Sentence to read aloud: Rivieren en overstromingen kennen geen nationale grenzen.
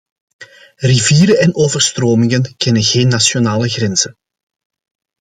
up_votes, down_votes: 2, 0